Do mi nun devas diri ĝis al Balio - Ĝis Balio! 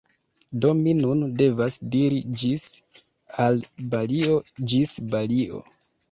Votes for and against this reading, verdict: 2, 0, accepted